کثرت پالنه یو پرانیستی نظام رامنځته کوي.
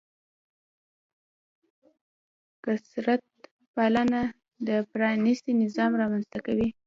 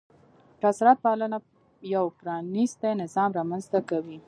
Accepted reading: first